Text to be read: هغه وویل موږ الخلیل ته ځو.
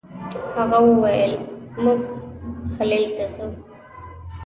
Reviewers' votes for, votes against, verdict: 0, 2, rejected